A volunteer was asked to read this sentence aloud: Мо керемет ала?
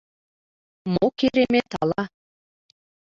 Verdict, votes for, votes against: accepted, 2, 1